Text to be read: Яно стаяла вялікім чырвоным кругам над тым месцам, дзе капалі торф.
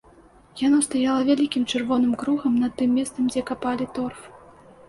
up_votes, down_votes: 2, 0